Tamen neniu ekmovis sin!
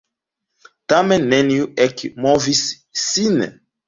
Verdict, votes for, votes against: rejected, 1, 2